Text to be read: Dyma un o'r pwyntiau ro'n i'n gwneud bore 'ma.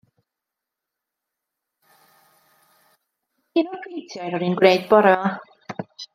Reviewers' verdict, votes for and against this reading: rejected, 1, 2